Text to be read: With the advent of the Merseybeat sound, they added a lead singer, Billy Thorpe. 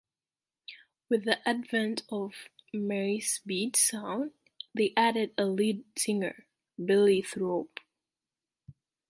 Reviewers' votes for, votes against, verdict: 1, 2, rejected